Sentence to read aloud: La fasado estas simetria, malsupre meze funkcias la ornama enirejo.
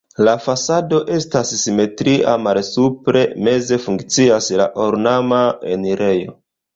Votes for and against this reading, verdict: 2, 0, accepted